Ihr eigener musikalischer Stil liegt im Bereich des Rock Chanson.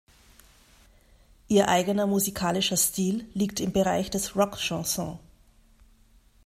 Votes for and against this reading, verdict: 2, 0, accepted